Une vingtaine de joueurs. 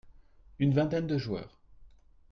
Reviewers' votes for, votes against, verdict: 2, 0, accepted